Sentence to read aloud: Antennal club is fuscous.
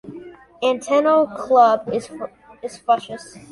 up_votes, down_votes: 0, 3